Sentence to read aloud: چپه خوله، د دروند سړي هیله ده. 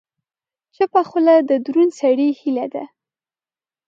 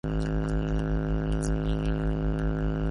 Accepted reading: first